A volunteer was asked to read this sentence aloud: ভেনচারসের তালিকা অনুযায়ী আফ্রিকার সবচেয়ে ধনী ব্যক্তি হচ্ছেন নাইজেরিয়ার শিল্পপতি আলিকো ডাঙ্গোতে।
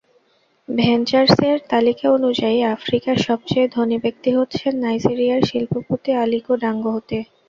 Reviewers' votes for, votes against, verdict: 0, 2, rejected